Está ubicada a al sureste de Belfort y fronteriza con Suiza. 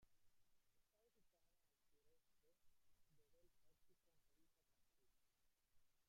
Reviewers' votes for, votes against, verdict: 0, 2, rejected